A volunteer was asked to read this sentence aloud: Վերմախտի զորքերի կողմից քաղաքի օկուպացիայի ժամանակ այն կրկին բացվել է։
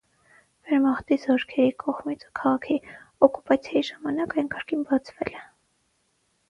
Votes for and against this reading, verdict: 0, 6, rejected